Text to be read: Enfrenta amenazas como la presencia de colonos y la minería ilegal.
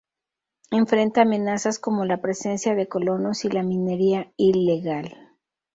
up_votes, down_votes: 2, 0